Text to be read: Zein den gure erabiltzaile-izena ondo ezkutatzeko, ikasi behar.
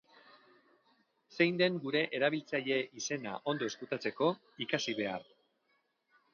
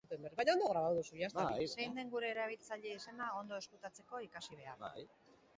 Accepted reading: first